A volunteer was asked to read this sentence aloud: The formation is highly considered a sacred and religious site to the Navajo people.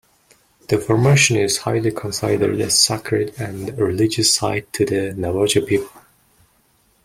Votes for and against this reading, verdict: 2, 0, accepted